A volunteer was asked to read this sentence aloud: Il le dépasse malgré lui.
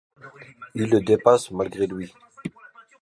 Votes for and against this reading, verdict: 2, 0, accepted